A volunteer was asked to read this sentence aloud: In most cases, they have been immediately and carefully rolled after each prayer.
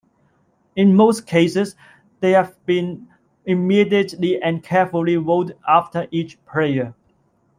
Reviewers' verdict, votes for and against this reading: accepted, 2, 0